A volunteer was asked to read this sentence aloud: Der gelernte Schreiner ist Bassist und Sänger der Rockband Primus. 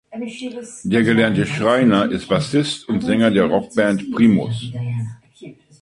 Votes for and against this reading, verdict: 2, 0, accepted